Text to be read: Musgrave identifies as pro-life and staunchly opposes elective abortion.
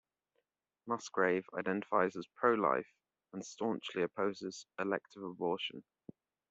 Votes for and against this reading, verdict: 2, 0, accepted